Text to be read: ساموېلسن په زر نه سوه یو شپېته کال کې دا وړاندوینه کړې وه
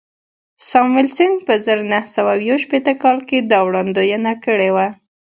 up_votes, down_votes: 2, 0